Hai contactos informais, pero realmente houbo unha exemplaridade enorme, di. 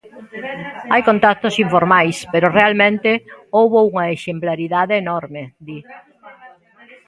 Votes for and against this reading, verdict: 1, 2, rejected